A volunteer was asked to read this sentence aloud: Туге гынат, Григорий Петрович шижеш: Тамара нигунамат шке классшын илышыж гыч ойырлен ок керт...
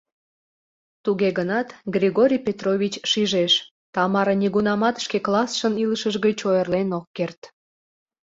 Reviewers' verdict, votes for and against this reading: accepted, 2, 0